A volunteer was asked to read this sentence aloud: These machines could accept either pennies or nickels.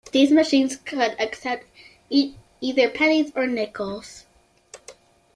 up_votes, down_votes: 1, 3